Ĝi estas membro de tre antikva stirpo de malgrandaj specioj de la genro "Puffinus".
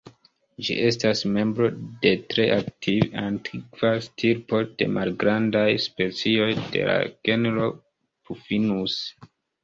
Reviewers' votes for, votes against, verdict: 1, 2, rejected